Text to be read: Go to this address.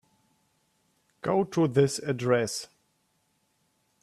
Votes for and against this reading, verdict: 3, 0, accepted